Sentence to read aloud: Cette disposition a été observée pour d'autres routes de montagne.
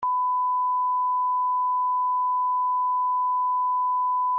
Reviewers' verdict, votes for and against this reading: rejected, 0, 2